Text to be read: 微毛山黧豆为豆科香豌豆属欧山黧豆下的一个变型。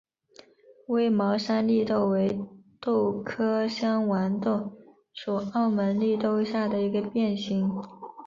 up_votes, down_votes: 2, 1